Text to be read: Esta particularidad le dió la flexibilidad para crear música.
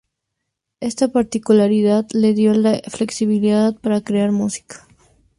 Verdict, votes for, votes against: accepted, 4, 0